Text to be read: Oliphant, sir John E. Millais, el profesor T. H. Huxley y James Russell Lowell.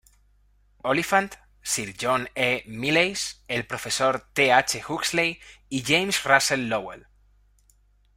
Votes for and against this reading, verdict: 1, 2, rejected